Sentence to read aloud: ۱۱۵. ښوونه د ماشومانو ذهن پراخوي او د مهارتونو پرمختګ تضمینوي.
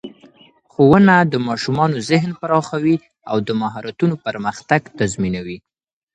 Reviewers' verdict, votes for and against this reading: rejected, 0, 2